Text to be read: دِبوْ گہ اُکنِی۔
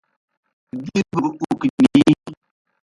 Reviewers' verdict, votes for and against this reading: rejected, 0, 2